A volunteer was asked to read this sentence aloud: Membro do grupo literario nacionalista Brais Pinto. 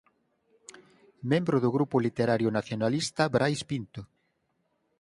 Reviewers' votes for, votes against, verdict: 6, 0, accepted